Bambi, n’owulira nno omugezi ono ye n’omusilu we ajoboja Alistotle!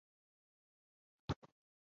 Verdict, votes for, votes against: rejected, 0, 2